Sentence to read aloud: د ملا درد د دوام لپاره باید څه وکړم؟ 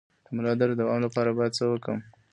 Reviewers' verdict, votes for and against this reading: rejected, 1, 2